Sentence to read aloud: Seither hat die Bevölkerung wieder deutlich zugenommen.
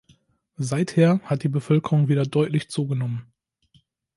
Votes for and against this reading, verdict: 2, 0, accepted